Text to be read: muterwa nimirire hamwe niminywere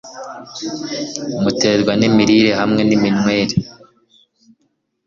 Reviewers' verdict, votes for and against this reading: accepted, 2, 0